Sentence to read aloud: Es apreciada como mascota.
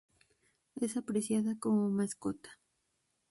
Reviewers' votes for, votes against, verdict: 2, 0, accepted